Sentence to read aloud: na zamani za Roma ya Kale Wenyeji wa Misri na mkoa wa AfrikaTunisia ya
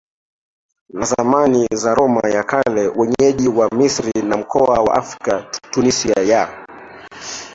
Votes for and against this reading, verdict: 1, 2, rejected